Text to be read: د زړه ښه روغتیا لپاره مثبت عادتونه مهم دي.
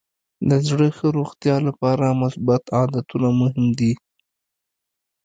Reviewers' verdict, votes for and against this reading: accepted, 2, 0